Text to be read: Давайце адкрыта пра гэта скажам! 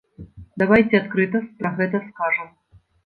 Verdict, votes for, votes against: accepted, 2, 0